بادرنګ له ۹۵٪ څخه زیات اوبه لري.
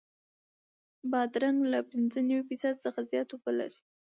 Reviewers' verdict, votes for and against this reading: rejected, 0, 2